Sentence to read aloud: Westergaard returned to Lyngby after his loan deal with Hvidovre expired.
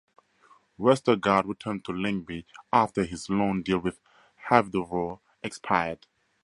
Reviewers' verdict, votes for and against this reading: accepted, 2, 0